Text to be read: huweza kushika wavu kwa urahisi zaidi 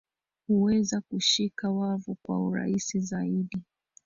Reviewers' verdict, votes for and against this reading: rejected, 0, 2